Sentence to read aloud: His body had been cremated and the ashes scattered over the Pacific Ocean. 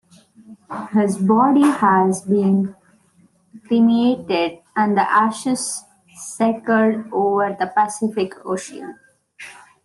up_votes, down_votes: 2, 1